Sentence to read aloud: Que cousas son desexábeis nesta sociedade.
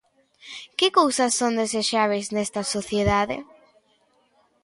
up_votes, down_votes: 2, 1